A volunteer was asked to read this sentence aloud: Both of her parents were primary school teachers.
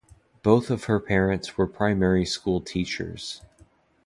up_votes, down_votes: 2, 0